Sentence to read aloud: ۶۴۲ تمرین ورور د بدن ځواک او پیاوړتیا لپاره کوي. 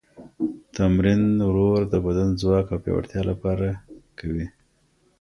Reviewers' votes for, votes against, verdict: 0, 2, rejected